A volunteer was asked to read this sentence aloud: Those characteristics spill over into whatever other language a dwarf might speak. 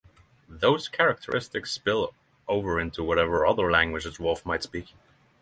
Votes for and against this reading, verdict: 3, 0, accepted